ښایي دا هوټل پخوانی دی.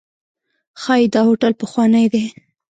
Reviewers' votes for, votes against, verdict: 1, 2, rejected